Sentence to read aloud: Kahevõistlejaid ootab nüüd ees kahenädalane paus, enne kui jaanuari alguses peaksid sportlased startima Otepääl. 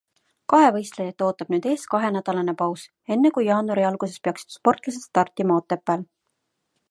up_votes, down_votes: 2, 0